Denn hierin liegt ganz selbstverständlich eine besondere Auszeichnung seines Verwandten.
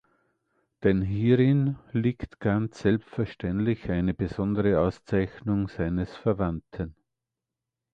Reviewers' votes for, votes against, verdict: 2, 0, accepted